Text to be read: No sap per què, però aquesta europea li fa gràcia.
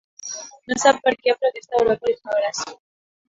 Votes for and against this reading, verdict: 1, 2, rejected